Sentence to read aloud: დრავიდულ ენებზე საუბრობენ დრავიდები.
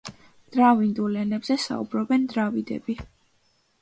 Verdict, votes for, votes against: accepted, 2, 0